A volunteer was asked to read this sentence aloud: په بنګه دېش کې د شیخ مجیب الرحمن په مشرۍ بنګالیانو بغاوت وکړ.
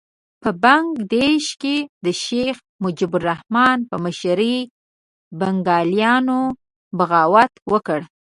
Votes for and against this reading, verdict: 1, 2, rejected